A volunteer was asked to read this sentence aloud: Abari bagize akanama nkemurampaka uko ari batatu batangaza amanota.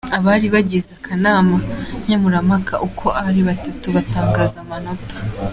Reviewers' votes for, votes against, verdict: 2, 0, accepted